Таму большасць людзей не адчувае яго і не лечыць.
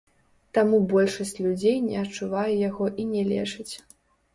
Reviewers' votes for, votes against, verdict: 0, 2, rejected